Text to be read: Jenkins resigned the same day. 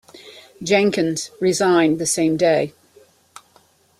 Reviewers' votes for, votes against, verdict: 2, 0, accepted